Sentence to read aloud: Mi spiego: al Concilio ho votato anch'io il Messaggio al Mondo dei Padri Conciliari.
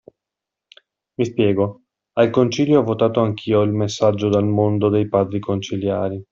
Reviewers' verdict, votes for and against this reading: accepted, 2, 0